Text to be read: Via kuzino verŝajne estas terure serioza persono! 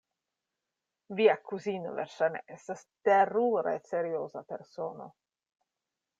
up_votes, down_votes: 2, 0